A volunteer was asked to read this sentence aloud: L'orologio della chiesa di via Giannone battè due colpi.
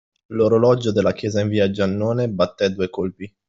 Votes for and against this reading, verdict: 2, 0, accepted